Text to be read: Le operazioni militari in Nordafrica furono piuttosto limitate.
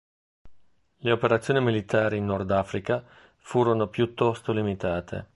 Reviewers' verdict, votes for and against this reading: accepted, 3, 0